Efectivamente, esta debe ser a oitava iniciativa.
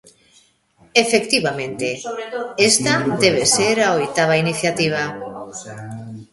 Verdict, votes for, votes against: rejected, 0, 2